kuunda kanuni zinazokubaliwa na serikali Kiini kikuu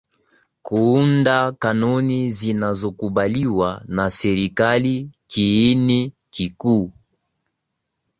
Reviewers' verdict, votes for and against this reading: accepted, 2, 0